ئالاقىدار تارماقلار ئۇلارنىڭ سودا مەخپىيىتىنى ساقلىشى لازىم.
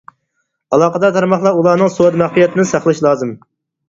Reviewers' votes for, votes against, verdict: 2, 4, rejected